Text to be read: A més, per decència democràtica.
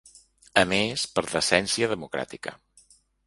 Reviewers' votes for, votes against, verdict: 2, 0, accepted